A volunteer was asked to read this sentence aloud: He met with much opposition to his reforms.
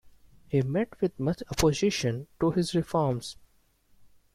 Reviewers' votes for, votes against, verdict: 2, 0, accepted